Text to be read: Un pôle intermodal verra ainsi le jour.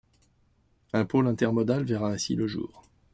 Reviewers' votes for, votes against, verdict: 2, 0, accepted